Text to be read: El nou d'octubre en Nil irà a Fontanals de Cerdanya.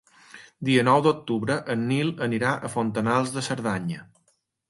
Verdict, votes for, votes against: rejected, 1, 2